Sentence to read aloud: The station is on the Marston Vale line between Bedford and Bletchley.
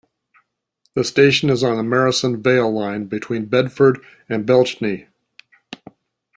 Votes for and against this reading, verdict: 1, 2, rejected